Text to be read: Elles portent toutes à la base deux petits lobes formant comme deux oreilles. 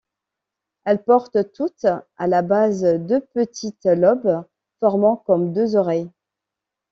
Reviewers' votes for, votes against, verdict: 0, 2, rejected